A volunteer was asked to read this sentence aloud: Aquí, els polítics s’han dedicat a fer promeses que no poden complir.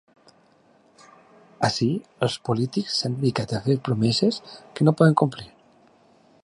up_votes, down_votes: 1, 2